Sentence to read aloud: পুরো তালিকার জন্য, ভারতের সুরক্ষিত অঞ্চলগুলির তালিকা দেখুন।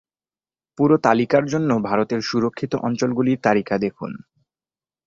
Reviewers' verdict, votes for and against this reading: accepted, 2, 0